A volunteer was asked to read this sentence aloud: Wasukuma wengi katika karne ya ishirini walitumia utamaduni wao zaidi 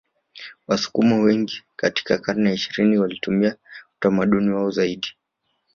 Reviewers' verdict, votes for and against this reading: accepted, 2, 0